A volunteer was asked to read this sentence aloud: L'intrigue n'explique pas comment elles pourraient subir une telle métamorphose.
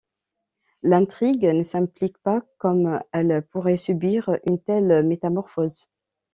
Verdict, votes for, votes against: rejected, 0, 2